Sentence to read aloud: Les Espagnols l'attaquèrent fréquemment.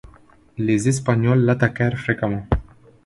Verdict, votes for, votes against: accepted, 2, 0